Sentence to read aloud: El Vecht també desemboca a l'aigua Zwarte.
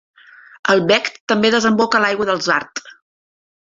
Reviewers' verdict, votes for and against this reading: rejected, 0, 2